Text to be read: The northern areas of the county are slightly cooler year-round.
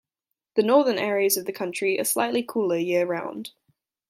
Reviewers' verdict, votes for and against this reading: rejected, 0, 2